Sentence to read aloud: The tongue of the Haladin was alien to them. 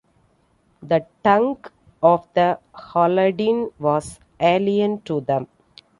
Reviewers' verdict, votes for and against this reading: accepted, 2, 0